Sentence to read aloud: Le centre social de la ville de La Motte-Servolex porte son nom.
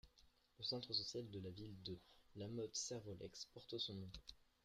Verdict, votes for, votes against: accepted, 2, 0